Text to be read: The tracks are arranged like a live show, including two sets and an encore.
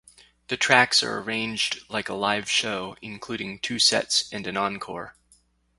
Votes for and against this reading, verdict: 4, 0, accepted